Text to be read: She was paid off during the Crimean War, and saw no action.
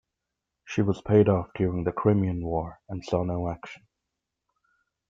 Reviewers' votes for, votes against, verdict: 2, 0, accepted